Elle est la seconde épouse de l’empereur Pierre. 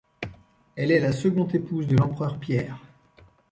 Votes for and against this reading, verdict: 1, 2, rejected